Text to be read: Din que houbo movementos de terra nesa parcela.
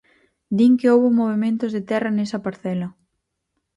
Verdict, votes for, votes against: accepted, 4, 0